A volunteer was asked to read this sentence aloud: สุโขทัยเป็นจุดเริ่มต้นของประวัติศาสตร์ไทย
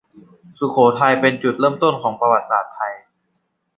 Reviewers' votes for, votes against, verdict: 2, 0, accepted